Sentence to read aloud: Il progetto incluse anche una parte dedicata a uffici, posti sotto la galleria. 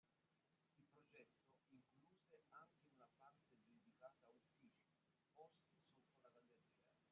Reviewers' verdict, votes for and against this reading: rejected, 0, 2